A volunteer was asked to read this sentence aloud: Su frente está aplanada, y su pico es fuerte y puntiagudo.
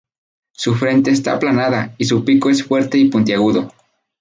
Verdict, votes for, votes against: accepted, 4, 0